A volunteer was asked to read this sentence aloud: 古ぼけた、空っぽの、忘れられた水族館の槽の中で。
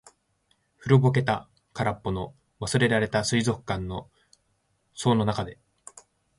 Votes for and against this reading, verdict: 2, 0, accepted